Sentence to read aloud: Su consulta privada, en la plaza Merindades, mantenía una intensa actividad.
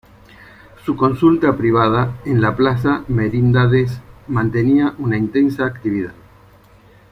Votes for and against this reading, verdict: 2, 1, accepted